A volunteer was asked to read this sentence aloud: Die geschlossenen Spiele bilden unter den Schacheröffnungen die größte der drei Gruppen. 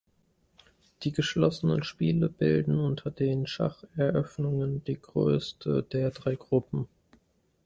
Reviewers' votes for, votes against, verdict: 2, 0, accepted